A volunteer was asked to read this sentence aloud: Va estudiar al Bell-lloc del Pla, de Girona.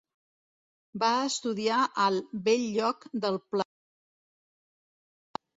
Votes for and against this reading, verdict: 0, 2, rejected